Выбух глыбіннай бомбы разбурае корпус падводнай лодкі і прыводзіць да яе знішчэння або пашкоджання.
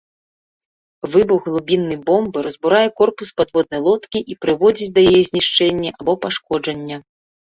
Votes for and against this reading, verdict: 2, 1, accepted